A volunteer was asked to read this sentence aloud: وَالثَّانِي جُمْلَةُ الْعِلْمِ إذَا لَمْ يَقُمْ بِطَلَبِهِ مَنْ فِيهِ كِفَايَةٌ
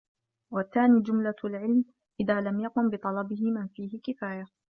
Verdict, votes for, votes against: accepted, 2, 0